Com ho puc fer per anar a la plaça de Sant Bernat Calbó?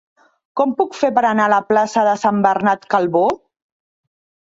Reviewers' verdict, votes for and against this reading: rejected, 0, 2